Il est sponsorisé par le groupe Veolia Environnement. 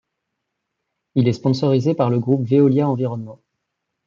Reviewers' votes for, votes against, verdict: 2, 0, accepted